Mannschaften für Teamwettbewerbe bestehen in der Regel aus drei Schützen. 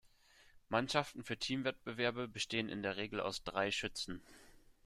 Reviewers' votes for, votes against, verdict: 2, 0, accepted